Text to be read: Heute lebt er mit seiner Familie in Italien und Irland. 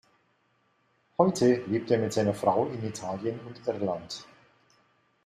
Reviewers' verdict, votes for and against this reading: rejected, 0, 2